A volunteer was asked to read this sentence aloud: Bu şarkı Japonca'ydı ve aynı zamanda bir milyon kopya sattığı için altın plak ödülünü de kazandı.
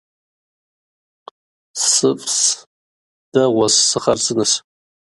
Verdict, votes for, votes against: rejected, 0, 2